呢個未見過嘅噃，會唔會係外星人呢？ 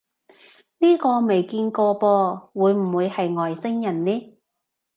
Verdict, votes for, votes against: rejected, 1, 2